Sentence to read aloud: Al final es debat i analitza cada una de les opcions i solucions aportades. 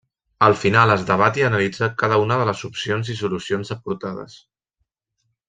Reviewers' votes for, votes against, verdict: 0, 2, rejected